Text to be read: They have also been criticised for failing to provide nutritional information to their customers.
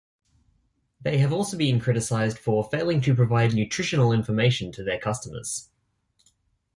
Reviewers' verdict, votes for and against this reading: accepted, 2, 0